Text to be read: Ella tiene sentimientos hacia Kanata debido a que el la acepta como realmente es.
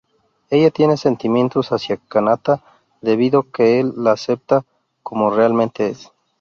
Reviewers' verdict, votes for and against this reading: rejected, 0, 4